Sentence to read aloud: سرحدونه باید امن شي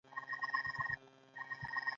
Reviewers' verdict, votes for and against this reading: rejected, 1, 2